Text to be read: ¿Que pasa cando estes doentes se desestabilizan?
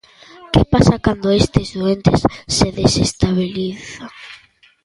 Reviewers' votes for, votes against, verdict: 1, 2, rejected